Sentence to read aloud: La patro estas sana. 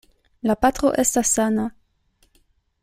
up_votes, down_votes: 2, 0